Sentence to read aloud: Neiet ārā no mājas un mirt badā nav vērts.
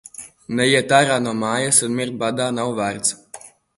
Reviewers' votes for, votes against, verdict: 2, 0, accepted